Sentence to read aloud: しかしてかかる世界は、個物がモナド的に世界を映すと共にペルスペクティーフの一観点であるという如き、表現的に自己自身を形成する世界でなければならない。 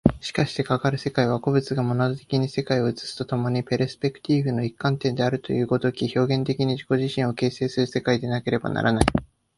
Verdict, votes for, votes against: accepted, 2, 1